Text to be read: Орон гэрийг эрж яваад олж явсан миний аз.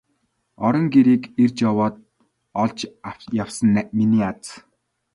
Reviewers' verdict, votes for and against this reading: rejected, 0, 2